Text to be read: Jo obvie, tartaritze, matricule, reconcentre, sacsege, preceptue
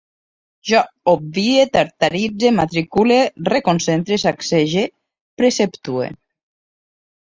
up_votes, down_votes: 2, 1